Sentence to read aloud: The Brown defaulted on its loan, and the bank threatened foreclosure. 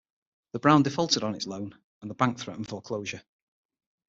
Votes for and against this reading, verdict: 6, 0, accepted